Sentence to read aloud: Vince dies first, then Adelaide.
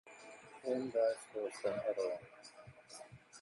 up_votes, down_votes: 0, 2